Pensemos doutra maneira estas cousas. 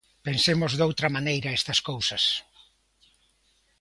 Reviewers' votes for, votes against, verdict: 2, 0, accepted